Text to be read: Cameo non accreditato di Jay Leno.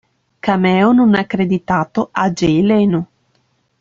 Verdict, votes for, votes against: rejected, 0, 2